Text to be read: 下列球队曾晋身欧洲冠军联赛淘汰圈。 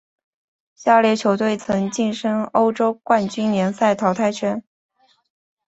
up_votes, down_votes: 2, 0